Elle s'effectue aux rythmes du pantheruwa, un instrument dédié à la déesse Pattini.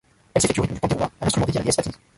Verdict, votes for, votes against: rejected, 0, 2